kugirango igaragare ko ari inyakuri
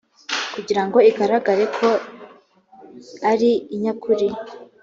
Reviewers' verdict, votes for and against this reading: accepted, 2, 0